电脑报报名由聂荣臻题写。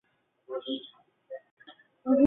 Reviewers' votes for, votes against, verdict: 2, 3, rejected